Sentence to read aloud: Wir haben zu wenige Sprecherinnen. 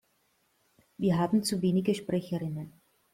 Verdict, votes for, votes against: accepted, 2, 0